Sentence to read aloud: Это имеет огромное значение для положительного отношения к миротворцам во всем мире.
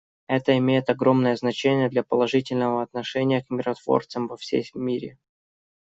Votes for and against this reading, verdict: 2, 0, accepted